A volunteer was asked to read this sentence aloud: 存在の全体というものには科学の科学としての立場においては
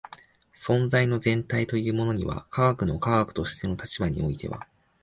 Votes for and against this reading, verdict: 2, 0, accepted